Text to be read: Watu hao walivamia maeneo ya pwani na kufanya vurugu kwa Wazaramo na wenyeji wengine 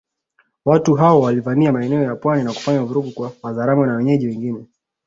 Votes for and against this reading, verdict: 2, 0, accepted